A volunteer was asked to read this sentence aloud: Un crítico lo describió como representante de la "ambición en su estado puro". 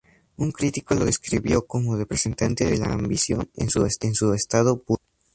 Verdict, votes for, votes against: rejected, 0, 2